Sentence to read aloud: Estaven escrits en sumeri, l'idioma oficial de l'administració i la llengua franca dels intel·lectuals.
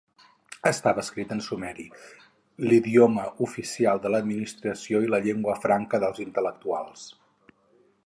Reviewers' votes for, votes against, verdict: 0, 4, rejected